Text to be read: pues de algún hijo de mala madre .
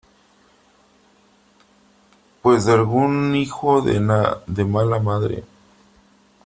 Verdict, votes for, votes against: rejected, 0, 2